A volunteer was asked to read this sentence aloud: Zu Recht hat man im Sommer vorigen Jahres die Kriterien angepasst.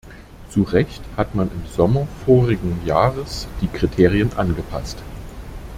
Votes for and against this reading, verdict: 2, 0, accepted